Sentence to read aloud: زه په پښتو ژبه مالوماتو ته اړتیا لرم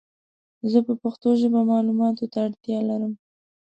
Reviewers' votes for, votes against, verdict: 2, 0, accepted